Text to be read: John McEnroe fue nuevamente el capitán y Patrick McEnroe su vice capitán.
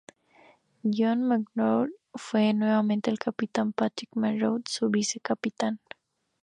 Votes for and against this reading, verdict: 0, 2, rejected